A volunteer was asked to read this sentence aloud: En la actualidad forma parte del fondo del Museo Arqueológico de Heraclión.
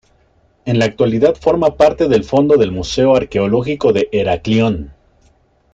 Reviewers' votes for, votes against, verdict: 2, 0, accepted